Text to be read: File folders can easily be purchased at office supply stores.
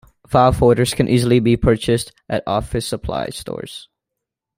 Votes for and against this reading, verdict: 2, 0, accepted